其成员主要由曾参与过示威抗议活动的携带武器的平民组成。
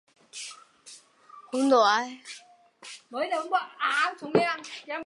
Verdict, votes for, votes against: rejected, 0, 2